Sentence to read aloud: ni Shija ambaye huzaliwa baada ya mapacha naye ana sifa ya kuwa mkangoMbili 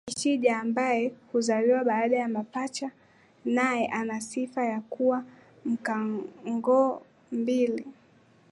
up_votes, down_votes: 0, 2